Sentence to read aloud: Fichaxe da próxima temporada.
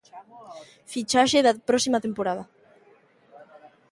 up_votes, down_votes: 1, 2